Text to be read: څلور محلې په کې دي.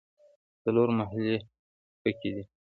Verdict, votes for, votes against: accepted, 2, 1